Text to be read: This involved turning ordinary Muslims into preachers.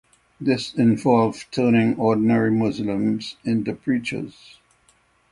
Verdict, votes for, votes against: accepted, 3, 0